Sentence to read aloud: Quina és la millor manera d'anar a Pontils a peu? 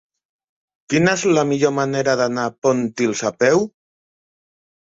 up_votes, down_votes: 0, 2